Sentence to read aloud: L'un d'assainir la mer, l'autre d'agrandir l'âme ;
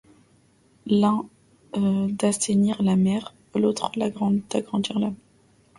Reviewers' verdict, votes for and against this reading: rejected, 0, 2